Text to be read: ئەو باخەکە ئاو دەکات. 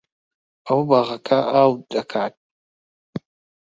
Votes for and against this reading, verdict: 1, 2, rejected